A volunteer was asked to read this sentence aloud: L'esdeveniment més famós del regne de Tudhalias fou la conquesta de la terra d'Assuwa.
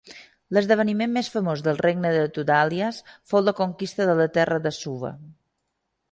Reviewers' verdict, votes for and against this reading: rejected, 1, 2